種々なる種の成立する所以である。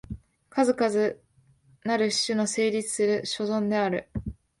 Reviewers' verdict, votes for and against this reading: rejected, 0, 2